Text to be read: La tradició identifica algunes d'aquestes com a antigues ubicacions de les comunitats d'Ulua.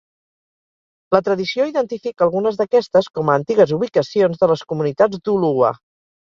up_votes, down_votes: 2, 0